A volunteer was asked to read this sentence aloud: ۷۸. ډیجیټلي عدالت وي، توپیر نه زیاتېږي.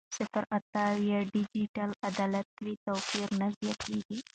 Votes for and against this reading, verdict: 0, 2, rejected